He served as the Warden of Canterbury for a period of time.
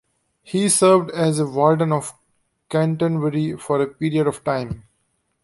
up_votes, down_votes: 0, 2